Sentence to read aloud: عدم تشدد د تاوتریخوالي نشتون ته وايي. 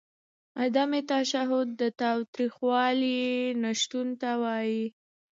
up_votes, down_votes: 2, 0